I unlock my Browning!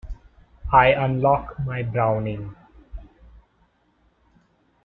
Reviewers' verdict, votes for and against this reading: accepted, 2, 0